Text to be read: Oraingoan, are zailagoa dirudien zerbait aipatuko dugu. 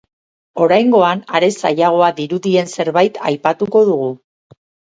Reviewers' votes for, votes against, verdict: 4, 4, rejected